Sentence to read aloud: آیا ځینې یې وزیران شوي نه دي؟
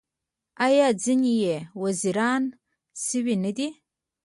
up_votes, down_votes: 2, 0